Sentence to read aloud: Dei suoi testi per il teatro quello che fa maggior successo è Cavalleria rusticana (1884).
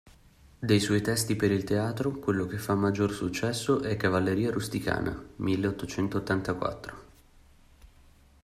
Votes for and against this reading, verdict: 0, 2, rejected